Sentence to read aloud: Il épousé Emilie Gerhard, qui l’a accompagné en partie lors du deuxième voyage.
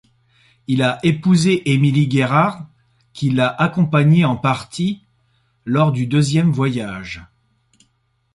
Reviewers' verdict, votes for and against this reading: accepted, 2, 0